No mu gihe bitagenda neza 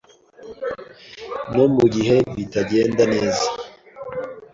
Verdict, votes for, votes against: accepted, 2, 0